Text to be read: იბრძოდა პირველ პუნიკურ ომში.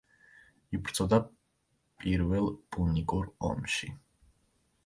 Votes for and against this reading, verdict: 2, 0, accepted